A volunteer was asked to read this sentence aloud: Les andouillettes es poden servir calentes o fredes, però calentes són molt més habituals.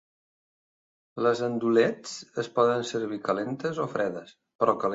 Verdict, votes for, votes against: rejected, 1, 2